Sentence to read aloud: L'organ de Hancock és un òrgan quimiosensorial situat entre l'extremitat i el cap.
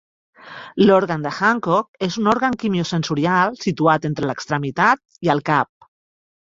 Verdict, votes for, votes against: accepted, 3, 0